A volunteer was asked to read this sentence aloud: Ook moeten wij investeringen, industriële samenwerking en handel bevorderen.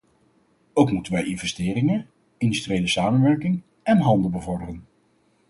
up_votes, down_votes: 4, 0